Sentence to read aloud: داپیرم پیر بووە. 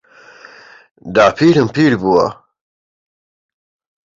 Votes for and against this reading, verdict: 2, 0, accepted